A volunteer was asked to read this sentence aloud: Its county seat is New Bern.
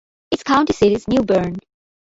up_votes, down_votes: 1, 2